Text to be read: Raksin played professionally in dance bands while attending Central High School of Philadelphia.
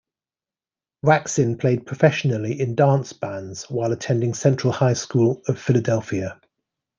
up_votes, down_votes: 2, 0